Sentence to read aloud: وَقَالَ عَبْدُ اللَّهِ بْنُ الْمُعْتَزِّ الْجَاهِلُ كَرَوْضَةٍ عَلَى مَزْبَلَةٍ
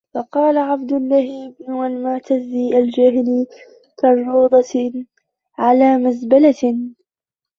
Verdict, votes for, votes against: rejected, 1, 2